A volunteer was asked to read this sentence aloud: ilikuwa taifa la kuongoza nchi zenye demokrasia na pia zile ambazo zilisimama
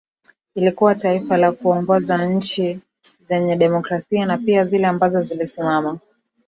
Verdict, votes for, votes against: rejected, 0, 2